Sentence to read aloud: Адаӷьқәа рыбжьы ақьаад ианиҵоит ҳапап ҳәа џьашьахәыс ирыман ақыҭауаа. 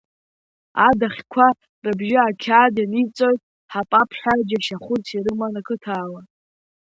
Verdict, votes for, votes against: accepted, 2, 0